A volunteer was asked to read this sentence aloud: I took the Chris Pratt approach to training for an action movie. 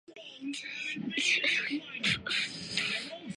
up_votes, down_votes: 0, 2